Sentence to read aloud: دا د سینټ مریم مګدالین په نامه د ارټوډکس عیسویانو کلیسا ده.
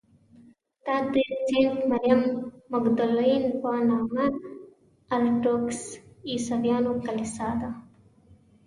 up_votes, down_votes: 1, 2